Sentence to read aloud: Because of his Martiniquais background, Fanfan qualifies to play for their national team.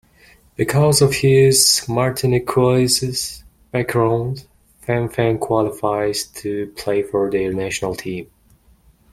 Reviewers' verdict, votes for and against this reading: rejected, 2, 3